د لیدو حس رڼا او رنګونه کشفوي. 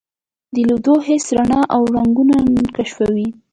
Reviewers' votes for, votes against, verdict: 2, 0, accepted